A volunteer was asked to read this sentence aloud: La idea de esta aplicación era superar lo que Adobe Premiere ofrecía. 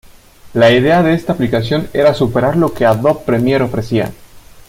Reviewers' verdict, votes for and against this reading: accepted, 2, 1